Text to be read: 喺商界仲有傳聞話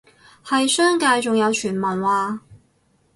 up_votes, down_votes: 2, 2